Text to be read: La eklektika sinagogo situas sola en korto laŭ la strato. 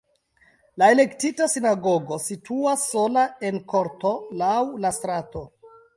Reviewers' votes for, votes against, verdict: 0, 2, rejected